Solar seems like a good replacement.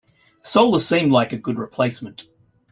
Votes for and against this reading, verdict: 1, 2, rejected